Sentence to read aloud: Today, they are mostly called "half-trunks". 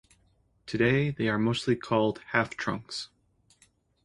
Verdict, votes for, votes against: accepted, 2, 0